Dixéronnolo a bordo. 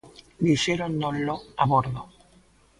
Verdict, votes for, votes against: rejected, 1, 2